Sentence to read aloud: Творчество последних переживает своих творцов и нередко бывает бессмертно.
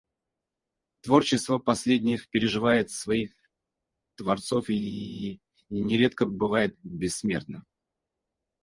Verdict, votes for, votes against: rejected, 0, 4